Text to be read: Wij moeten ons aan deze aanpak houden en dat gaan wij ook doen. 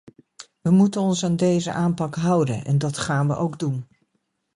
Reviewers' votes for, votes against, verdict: 1, 2, rejected